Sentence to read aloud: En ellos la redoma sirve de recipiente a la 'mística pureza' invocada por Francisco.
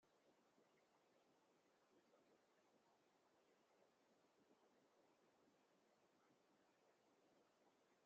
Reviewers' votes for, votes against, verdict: 0, 2, rejected